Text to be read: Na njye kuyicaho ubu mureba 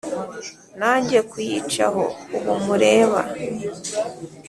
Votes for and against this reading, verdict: 4, 0, accepted